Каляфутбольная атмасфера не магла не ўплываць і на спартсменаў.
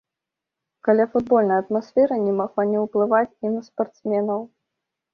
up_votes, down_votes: 2, 0